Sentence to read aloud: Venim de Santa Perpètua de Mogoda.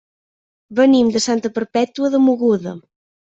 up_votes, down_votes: 2, 0